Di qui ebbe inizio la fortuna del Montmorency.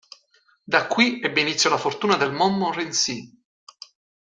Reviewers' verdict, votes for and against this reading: rejected, 0, 2